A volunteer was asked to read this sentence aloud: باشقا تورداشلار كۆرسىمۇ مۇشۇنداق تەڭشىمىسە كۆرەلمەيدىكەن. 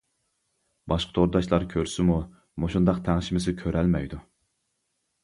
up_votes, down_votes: 0, 2